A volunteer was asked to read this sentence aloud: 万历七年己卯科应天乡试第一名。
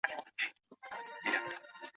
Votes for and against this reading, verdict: 1, 7, rejected